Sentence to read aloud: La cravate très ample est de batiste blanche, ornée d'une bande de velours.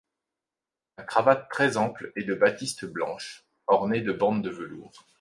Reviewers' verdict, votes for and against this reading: rejected, 0, 2